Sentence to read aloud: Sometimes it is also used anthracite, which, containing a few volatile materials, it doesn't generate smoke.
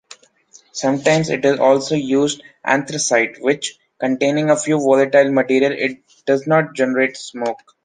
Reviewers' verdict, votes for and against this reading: accepted, 2, 1